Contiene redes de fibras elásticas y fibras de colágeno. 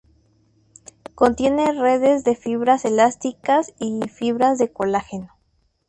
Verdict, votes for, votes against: accepted, 2, 0